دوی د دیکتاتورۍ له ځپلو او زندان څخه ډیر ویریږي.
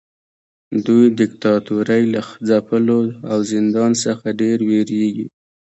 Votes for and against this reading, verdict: 0, 2, rejected